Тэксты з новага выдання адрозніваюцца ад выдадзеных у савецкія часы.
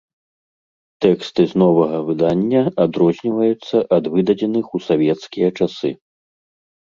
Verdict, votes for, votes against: accepted, 2, 0